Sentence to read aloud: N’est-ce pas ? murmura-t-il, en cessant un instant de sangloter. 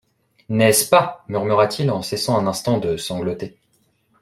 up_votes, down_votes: 2, 0